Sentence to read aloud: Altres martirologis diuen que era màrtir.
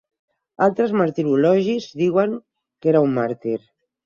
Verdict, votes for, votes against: rejected, 2, 4